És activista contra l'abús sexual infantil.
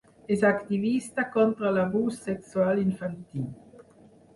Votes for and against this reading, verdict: 4, 0, accepted